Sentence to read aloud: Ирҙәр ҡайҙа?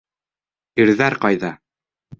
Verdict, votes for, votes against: accepted, 2, 0